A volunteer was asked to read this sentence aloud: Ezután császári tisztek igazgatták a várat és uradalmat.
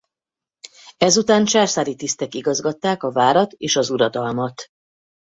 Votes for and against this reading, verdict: 0, 4, rejected